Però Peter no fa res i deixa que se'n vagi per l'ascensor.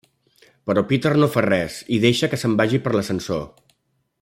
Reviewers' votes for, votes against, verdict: 3, 0, accepted